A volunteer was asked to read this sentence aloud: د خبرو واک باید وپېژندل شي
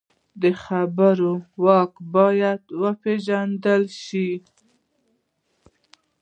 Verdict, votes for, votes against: accepted, 2, 0